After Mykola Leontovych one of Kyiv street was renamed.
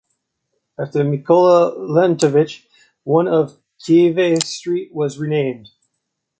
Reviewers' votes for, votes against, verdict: 0, 2, rejected